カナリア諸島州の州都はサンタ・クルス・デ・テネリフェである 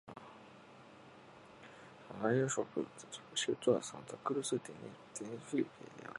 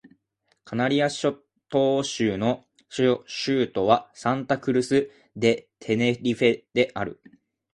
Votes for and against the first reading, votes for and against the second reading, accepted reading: 0, 2, 2, 0, second